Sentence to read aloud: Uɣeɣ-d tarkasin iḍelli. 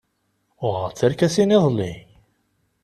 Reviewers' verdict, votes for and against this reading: accepted, 2, 0